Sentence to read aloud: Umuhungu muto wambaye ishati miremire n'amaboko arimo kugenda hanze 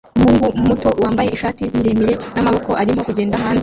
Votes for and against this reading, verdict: 0, 2, rejected